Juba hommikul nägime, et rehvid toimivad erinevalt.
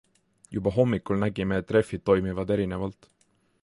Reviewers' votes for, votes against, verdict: 2, 0, accepted